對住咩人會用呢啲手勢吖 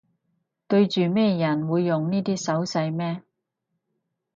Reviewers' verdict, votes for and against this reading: rejected, 2, 4